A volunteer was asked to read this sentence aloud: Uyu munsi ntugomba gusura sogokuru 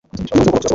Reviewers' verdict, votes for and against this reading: rejected, 1, 2